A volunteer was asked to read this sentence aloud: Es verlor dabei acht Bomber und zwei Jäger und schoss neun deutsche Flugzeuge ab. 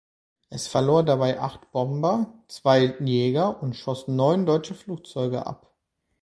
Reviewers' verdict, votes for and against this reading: rejected, 1, 2